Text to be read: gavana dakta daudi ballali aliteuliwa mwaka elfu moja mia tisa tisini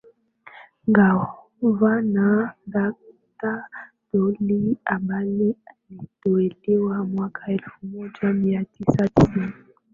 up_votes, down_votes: 4, 2